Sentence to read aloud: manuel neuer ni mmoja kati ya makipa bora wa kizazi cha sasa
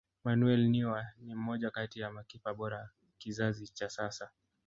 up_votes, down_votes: 2, 0